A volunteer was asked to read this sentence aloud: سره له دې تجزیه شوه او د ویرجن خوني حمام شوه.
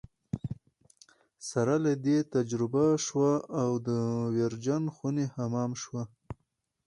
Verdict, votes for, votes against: accepted, 4, 0